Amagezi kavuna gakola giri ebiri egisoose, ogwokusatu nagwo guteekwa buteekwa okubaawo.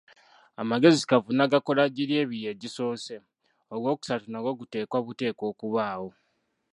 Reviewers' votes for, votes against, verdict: 1, 2, rejected